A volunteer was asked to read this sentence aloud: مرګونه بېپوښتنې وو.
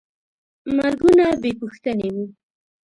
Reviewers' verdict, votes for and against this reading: accepted, 2, 0